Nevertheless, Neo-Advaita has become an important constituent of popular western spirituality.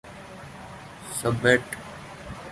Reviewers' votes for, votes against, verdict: 0, 2, rejected